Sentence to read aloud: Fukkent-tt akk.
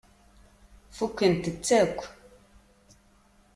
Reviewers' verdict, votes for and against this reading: accepted, 2, 0